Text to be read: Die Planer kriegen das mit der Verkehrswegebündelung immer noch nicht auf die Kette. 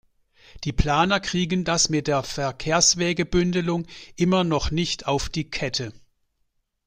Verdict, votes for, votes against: accepted, 2, 1